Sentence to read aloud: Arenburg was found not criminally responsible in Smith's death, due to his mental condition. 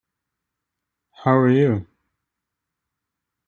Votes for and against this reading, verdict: 0, 2, rejected